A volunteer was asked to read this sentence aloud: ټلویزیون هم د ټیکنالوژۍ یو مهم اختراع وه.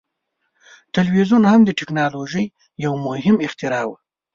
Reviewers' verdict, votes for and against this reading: accepted, 2, 0